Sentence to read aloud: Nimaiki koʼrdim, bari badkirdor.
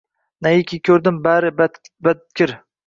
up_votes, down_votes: 0, 2